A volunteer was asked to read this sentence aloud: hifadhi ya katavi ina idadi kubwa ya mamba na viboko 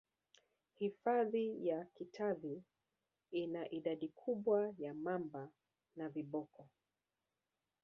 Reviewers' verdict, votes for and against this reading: accepted, 2, 0